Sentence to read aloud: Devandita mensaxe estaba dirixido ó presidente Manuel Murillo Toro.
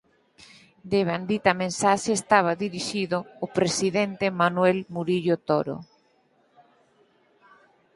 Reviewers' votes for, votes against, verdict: 0, 4, rejected